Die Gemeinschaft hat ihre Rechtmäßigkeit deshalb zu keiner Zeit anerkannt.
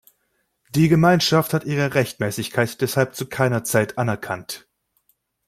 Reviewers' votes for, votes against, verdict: 2, 0, accepted